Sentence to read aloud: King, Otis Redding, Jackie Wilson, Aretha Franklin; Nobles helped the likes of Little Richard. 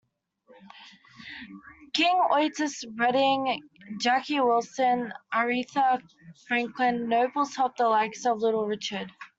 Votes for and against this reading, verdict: 2, 0, accepted